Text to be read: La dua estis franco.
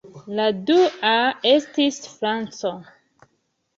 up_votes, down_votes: 2, 0